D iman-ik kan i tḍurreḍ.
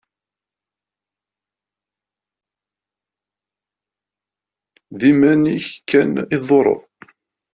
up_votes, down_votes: 2, 0